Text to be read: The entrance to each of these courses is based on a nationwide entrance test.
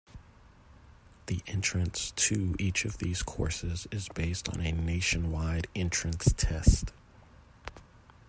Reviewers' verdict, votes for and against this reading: rejected, 0, 2